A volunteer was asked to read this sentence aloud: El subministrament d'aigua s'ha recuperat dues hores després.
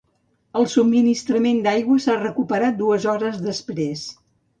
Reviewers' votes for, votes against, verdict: 2, 0, accepted